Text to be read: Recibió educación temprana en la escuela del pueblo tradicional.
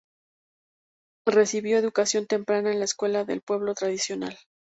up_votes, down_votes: 4, 0